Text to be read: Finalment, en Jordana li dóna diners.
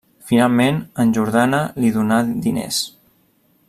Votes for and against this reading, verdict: 1, 2, rejected